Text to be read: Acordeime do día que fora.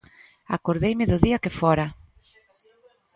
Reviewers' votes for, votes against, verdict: 1, 2, rejected